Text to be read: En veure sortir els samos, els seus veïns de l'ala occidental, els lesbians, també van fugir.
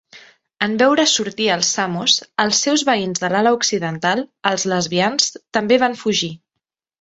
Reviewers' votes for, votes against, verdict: 2, 0, accepted